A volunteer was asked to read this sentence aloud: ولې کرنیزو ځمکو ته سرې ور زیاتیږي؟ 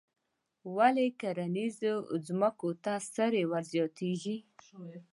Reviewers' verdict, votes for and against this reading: accepted, 2, 0